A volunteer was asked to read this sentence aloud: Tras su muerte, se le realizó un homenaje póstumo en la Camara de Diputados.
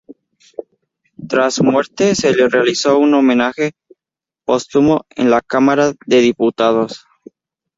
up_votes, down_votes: 0, 2